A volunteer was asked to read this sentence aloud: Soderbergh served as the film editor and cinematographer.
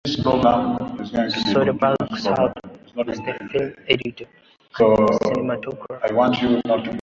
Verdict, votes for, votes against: rejected, 0, 2